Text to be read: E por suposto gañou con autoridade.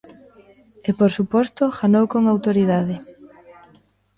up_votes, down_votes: 0, 2